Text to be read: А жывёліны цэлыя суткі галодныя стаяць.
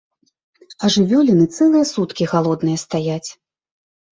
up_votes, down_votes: 2, 0